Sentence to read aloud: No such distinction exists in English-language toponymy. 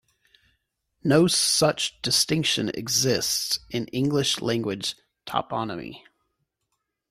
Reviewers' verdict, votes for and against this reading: accepted, 3, 0